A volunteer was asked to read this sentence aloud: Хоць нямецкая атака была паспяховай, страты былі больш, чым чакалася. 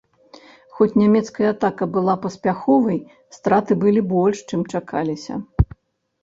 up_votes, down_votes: 0, 2